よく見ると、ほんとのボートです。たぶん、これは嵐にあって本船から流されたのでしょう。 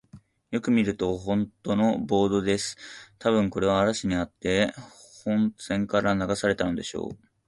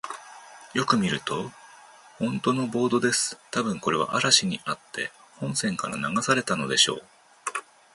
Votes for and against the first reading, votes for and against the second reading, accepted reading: 2, 0, 1, 2, first